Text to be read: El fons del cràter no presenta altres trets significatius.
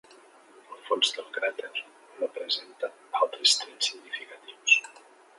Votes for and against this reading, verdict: 0, 2, rejected